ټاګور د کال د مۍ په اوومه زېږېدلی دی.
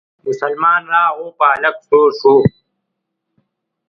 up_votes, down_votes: 0, 2